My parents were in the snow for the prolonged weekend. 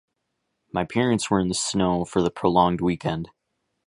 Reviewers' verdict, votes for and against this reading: accepted, 3, 0